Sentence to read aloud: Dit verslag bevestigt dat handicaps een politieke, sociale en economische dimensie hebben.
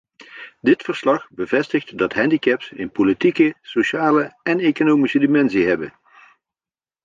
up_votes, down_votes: 2, 0